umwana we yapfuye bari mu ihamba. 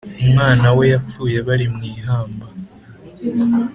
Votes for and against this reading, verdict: 2, 0, accepted